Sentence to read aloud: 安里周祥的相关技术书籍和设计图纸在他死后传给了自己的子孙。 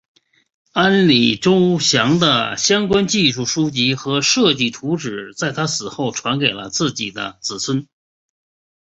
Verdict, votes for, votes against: accepted, 3, 0